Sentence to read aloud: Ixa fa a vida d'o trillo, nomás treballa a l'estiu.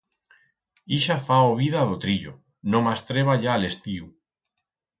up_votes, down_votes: 0, 4